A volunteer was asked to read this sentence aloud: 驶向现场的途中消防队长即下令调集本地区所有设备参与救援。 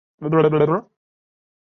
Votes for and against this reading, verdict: 0, 3, rejected